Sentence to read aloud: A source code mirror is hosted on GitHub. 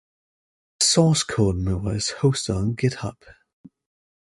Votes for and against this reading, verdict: 1, 3, rejected